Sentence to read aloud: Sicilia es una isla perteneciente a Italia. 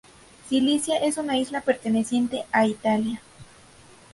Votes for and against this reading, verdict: 2, 0, accepted